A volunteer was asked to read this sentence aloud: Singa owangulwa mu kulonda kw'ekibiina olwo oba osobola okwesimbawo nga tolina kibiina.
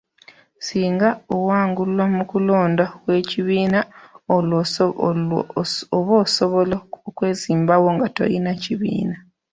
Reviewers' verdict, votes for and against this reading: rejected, 0, 2